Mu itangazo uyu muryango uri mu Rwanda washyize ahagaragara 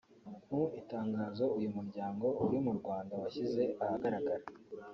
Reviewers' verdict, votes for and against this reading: rejected, 0, 2